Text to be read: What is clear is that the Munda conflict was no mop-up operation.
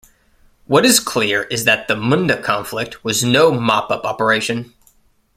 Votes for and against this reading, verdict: 2, 1, accepted